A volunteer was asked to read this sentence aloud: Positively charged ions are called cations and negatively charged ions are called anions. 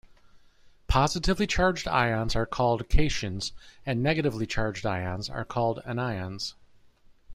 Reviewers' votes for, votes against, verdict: 1, 2, rejected